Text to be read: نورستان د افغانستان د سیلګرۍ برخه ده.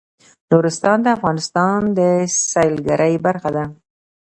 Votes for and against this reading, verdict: 0, 2, rejected